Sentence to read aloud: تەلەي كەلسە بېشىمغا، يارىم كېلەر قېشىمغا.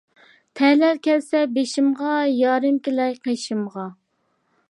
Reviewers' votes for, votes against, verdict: 2, 0, accepted